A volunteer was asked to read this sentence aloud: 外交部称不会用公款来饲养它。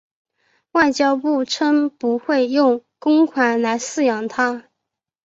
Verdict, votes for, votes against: accepted, 2, 1